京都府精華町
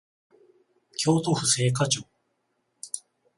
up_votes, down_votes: 14, 0